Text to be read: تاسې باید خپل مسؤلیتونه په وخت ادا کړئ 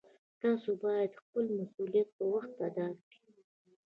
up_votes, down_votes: 1, 2